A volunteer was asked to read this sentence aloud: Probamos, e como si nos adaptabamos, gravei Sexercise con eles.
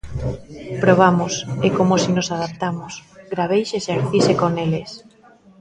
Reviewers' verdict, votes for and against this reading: rejected, 0, 2